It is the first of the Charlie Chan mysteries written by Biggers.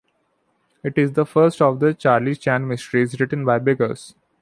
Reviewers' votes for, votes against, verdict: 2, 1, accepted